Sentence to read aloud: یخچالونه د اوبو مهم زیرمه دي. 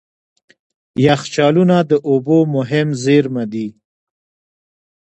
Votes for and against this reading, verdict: 2, 1, accepted